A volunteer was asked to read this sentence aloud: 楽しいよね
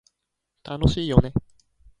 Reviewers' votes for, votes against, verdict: 1, 2, rejected